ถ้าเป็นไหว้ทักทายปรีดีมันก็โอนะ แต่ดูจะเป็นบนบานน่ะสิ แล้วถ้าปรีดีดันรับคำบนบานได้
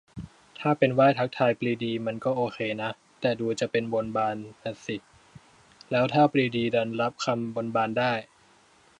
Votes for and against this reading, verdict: 0, 3, rejected